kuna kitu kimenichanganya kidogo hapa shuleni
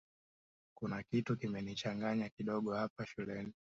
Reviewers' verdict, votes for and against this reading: rejected, 1, 2